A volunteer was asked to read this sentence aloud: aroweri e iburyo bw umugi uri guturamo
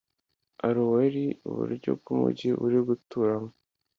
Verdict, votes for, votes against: accepted, 2, 0